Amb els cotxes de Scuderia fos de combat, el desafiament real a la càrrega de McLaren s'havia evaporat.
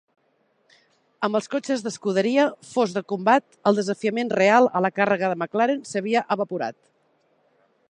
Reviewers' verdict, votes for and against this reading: accepted, 2, 0